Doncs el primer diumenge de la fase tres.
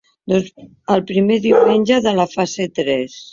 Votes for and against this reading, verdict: 1, 2, rejected